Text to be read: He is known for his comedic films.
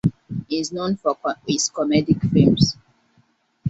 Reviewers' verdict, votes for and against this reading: rejected, 0, 2